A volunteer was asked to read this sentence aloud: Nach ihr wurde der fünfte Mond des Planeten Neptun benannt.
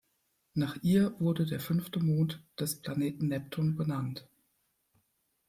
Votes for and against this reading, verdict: 2, 0, accepted